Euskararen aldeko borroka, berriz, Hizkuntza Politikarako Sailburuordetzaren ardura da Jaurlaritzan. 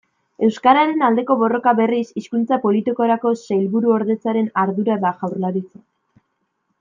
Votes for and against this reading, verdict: 2, 1, accepted